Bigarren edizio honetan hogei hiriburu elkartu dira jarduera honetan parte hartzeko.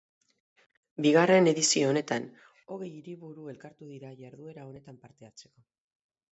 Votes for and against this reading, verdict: 0, 2, rejected